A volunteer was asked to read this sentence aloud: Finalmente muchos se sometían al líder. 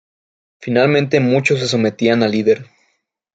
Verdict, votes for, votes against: rejected, 0, 2